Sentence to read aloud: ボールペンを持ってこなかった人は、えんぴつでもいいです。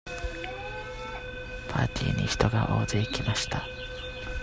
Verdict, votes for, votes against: rejected, 0, 2